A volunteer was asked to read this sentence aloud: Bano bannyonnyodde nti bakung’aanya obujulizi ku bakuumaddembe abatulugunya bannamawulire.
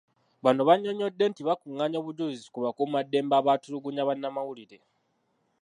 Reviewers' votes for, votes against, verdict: 0, 2, rejected